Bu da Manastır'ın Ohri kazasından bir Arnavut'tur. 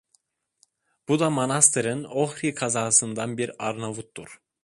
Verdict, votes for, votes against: accepted, 2, 0